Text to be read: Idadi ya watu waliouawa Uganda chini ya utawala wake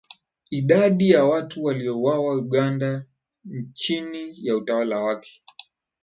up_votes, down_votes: 5, 0